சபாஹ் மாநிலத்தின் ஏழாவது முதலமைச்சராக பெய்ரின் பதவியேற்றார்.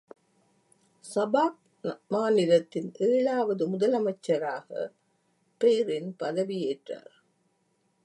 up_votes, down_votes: 1, 2